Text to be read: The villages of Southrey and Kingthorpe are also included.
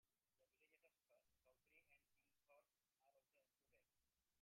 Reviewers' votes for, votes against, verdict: 0, 2, rejected